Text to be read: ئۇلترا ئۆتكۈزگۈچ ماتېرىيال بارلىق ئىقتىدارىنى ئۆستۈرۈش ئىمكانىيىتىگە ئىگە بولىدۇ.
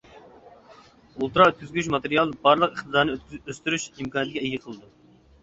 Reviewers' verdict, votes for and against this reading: rejected, 0, 2